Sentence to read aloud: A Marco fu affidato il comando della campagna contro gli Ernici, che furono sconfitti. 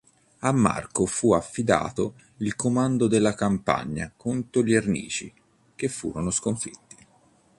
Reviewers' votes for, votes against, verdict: 2, 0, accepted